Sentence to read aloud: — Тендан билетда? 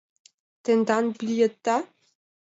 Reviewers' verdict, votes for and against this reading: accepted, 2, 0